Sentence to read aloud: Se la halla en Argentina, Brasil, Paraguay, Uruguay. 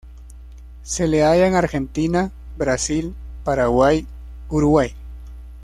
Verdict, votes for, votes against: rejected, 1, 2